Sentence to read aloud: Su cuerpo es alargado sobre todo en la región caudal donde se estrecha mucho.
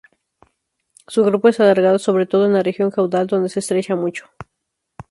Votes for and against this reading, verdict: 2, 2, rejected